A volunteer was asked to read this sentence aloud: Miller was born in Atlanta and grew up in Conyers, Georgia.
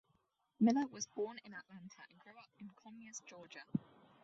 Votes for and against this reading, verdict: 2, 2, rejected